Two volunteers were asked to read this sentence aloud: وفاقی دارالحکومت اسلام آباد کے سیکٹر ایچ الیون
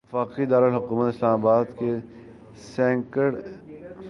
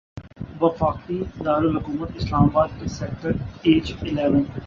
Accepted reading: second